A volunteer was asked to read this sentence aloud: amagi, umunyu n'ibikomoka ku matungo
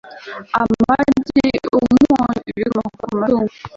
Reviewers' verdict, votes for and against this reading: rejected, 1, 2